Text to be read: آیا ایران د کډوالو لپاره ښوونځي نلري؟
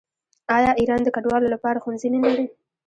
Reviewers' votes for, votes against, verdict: 0, 2, rejected